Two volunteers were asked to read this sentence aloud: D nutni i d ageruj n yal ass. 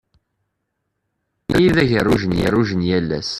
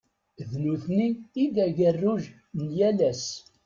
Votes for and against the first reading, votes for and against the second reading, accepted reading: 0, 2, 2, 0, second